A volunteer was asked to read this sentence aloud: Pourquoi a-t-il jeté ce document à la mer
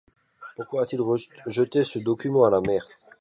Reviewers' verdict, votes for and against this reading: rejected, 1, 2